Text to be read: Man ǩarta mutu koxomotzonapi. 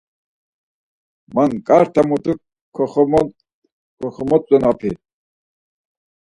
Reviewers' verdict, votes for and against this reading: rejected, 0, 4